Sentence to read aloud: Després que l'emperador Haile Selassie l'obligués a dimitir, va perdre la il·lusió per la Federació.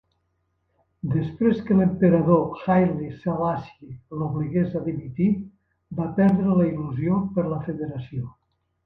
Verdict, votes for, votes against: rejected, 1, 2